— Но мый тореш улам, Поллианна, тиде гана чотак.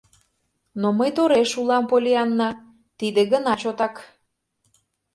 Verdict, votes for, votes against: rejected, 0, 2